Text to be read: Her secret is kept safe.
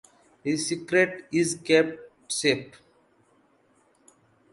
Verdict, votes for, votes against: rejected, 0, 2